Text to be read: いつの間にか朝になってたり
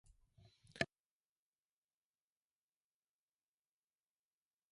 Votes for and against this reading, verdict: 0, 2, rejected